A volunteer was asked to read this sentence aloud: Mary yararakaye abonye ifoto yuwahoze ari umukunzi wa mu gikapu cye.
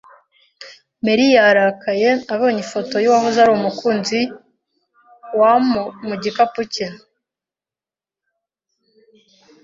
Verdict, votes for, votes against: rejected, 1, 2